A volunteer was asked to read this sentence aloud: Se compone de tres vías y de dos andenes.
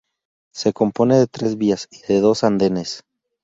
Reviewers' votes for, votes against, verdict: 2, 0, accepted